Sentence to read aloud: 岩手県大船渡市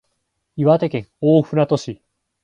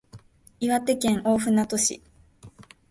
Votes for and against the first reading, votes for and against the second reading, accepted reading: 4, 0, 0, 2, first